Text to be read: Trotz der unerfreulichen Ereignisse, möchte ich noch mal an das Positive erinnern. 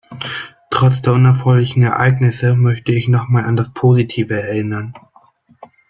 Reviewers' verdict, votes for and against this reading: accepted, 2, 0